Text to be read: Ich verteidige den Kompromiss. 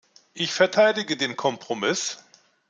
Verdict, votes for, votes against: accepted, 2, 0